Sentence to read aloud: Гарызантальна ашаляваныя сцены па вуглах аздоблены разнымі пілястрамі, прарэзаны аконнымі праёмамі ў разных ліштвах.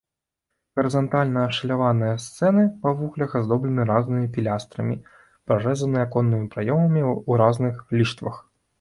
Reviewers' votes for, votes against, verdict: 1, 2, rejected